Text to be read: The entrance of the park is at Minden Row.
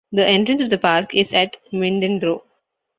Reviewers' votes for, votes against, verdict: 1, 2, rejected